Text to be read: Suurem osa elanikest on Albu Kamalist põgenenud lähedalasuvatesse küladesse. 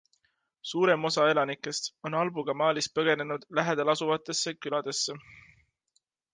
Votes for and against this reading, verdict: 3, 0, accepted